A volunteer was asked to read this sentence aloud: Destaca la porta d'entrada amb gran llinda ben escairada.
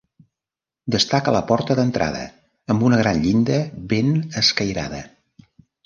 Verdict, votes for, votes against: rejected, 1, 2